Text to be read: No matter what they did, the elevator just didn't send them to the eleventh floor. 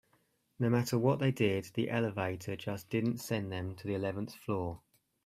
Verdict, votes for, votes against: accepted, 2, 0